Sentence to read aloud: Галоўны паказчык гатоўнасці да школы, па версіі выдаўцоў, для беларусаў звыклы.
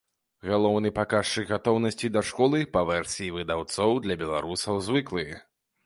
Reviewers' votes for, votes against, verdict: 1, 2, rejected